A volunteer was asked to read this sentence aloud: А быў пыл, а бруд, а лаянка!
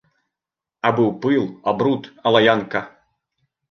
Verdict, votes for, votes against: accepted, 2, 0